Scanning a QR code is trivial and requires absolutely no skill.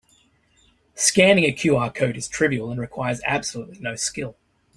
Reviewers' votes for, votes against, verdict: 3, 0, accepted